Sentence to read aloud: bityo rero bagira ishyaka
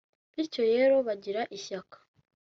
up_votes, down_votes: 2, 0